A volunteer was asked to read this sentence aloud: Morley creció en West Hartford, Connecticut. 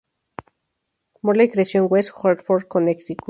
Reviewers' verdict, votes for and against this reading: rejected, 0, 2